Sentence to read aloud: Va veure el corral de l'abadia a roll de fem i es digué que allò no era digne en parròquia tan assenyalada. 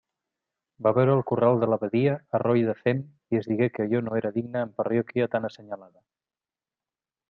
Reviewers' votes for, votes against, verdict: 1, 2, rejected